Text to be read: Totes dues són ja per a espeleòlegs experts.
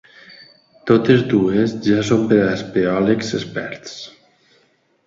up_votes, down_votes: 0, 2